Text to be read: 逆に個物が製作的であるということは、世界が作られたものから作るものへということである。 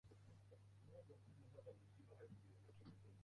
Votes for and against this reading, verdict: 0, 2, rejected